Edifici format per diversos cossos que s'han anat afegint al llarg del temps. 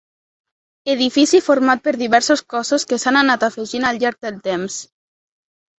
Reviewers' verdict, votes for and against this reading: accepted, 2, 0